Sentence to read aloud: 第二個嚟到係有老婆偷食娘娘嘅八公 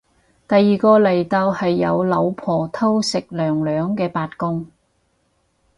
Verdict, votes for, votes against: rejected, 2, 2